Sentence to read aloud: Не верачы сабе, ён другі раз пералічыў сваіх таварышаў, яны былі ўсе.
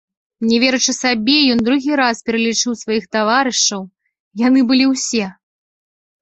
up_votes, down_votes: 2, 0